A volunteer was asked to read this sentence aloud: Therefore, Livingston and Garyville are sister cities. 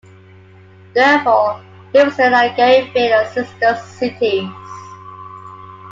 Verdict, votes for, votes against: rejected, 1, 3